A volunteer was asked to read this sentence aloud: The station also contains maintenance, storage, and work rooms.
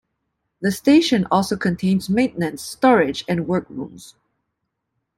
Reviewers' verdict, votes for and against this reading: accepted, 2, 0